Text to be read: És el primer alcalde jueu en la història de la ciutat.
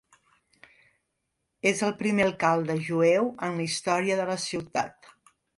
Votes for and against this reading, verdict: 2, 0, accepted